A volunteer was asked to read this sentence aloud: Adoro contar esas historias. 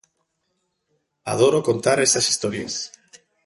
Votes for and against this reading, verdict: 2, 0, accepted